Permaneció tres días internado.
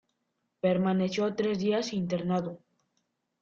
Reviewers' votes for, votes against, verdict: 2, 0, accepted